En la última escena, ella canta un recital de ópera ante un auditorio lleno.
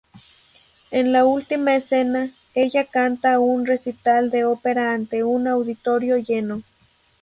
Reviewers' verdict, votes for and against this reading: accepted, 2, 0